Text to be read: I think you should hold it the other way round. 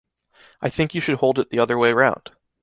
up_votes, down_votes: 2, 0